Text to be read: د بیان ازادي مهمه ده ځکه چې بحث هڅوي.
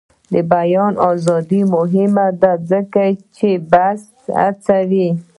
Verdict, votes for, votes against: accepted, 2, 1